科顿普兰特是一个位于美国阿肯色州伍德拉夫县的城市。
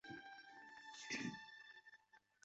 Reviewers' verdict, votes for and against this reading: rejected, 1, 2